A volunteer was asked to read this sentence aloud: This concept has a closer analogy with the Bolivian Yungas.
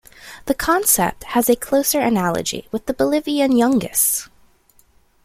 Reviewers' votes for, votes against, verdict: 1, 2, rejected